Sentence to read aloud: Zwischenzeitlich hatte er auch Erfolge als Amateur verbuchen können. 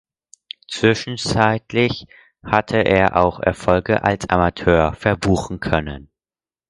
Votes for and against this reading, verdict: 4, 0, accepted